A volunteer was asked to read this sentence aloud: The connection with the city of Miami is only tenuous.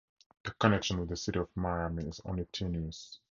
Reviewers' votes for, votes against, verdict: 2, 0, accepted